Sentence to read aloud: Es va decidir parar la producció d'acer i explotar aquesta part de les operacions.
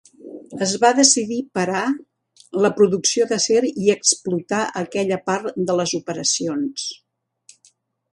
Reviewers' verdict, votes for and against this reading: rejected, 1, 3